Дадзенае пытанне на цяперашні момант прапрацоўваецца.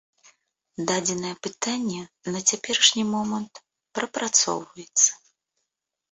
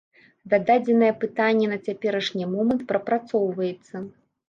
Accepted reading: first